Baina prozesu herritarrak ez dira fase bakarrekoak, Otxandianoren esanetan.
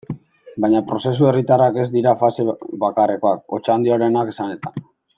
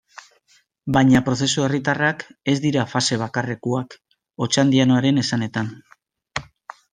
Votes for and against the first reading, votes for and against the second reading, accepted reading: 1, 2, 2, 1, second